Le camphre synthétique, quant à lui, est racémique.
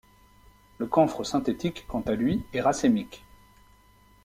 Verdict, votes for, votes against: accepted, 2, 0